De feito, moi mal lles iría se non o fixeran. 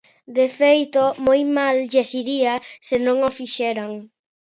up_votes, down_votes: 2, 0